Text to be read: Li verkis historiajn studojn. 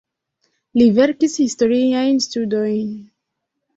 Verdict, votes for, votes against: accepted, 2, 0